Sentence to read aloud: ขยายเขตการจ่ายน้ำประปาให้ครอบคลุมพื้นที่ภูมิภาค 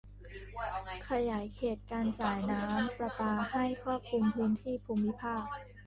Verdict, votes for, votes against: rejected, 0, 2